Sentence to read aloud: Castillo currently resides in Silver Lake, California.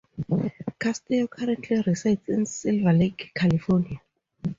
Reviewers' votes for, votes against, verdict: 2, 2, rejected